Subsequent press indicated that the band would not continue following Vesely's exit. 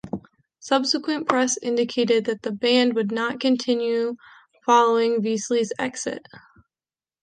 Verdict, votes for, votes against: accepted, 2, 0